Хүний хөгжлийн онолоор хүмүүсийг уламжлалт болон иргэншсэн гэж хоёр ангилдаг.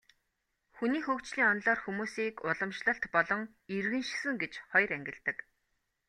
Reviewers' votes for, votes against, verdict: 2, 0, accepted